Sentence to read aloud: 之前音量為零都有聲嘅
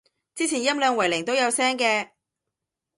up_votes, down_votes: 2, 0